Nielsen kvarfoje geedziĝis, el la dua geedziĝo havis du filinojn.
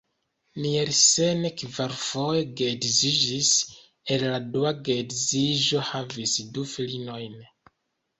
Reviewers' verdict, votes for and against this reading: accepted, 2, 0